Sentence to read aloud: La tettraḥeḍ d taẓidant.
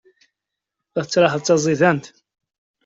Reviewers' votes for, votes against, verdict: 2, 0, accepted